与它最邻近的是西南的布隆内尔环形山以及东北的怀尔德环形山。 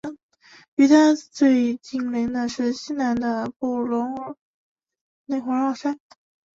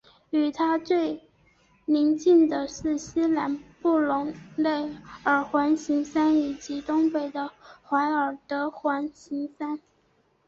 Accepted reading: second